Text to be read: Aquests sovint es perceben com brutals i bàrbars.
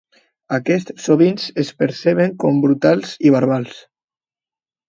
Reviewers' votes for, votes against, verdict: 1, 3, rejected